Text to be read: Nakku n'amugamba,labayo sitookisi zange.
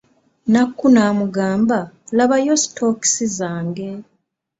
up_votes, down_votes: 3, 0